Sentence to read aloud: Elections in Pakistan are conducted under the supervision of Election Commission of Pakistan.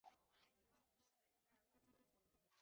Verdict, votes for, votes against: rejected, 0, 2